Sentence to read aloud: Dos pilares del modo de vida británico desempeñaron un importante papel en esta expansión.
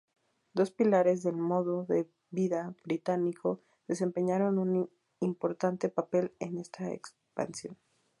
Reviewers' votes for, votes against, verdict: 0, 2, rejected